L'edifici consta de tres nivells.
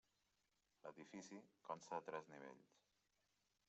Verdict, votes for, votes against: rejected, 0, 2